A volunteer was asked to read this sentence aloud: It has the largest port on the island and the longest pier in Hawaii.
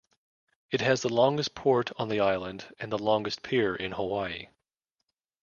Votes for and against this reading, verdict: 0, 2, rejected